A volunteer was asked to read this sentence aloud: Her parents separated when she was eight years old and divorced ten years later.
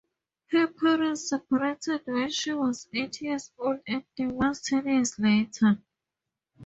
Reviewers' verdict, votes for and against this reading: accepted, 2, 0